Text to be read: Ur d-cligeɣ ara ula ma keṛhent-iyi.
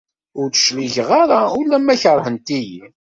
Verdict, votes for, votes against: accepted, 2, 0